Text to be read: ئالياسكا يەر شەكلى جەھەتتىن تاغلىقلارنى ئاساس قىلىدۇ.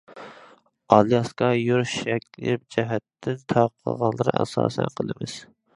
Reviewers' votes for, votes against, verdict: 1, 2, rejected